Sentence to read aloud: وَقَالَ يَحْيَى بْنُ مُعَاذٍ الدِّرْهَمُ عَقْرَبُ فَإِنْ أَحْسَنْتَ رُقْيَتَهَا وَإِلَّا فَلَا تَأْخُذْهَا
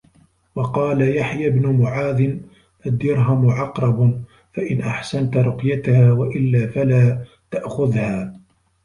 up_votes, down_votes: 2, 1